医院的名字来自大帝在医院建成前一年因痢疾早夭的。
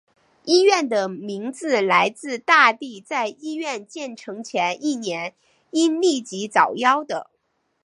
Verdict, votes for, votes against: accepted, 2, 0